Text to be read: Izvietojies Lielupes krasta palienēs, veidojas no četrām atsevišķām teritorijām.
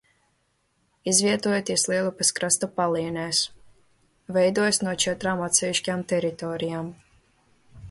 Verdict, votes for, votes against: rejected, 0, 2